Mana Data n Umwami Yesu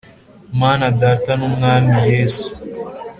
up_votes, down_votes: 2, 0